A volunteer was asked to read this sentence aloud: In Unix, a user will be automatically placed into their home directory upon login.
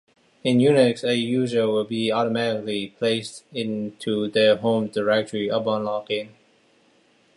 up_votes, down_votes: 2, 0